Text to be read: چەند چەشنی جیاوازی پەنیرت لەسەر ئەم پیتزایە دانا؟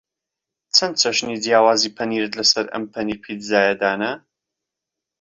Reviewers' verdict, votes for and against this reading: rejected, 0, 2